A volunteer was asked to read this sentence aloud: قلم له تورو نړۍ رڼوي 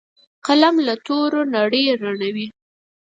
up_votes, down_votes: 4, 0